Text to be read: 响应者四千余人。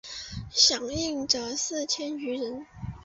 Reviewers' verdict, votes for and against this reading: accepted, 2, 0